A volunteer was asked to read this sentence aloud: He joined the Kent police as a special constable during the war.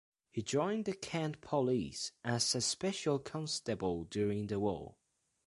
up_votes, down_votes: 2, 0